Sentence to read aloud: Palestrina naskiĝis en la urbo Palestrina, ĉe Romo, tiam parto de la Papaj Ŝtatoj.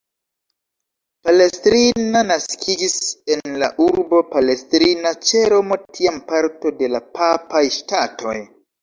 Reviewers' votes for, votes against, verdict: 1, 2, rejected